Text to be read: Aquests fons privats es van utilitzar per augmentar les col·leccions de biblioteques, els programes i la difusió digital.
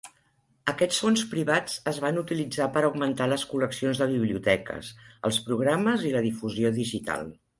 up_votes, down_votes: 4, 0